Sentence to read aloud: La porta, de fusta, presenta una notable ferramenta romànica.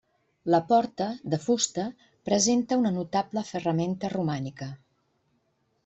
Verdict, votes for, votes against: accepted, 3, 0